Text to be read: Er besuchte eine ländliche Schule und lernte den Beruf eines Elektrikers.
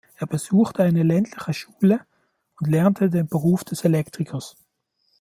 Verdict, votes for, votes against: rejected, 0, 2